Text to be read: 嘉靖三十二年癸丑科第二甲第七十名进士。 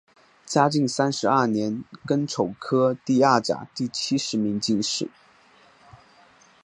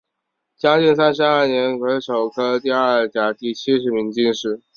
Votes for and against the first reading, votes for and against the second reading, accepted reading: 0, 2, 3, 0, second